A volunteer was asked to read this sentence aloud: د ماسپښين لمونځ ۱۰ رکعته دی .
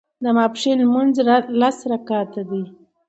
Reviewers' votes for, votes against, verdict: 0, 2, rejected